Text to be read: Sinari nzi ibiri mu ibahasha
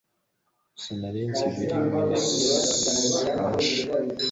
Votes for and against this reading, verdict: 0, 2, rejected